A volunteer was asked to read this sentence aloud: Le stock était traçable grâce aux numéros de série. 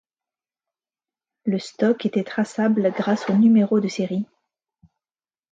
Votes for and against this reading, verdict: 2, 0, accepted